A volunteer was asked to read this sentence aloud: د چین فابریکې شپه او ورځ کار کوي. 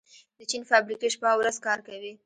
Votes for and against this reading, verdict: 1, 2, rejected